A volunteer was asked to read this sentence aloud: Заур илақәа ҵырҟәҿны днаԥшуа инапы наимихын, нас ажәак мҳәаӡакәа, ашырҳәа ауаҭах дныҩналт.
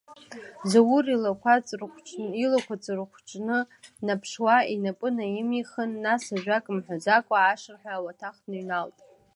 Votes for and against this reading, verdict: 0, 2, rejected